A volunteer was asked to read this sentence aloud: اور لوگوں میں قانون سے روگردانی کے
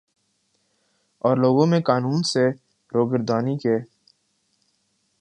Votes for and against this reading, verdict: 1, 2, rejected